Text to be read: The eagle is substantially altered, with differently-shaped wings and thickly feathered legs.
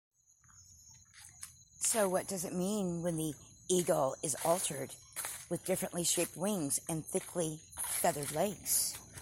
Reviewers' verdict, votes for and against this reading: rejected, 0, 2